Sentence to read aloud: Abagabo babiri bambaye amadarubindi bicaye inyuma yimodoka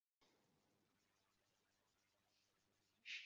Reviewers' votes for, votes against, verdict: 0, 2, rejected